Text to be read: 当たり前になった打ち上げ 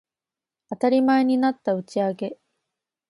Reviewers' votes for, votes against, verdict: 2, 0, accepted